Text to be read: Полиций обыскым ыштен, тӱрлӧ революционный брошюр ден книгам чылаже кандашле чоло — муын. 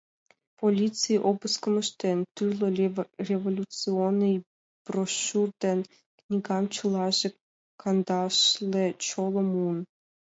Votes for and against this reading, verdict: 2, 3, rejected